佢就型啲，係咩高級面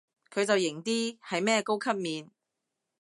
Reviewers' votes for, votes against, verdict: 2, 0, accepted